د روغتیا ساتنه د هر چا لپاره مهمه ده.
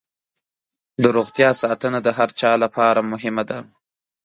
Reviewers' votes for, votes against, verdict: 3, 0, accepted